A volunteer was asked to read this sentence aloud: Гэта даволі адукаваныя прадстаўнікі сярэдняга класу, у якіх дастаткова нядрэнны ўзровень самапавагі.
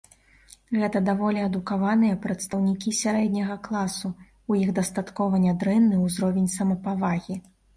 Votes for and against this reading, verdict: 1, 2, rejected